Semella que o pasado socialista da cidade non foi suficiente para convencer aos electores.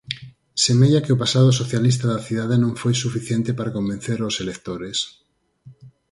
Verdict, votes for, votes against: accepted, 4, 0